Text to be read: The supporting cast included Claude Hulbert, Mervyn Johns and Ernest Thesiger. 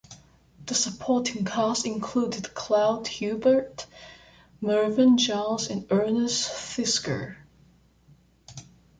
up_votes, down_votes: 1, 2